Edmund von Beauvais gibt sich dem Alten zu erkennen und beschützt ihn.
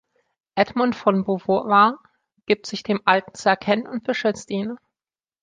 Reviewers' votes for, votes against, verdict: 0, 2, rejected